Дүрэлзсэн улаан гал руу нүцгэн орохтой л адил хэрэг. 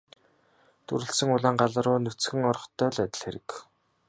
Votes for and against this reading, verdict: 2, 0, accepted